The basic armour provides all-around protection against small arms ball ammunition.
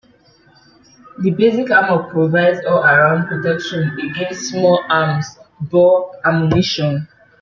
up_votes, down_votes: 2, 0